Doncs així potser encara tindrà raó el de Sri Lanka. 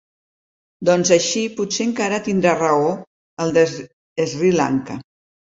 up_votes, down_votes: 0, 2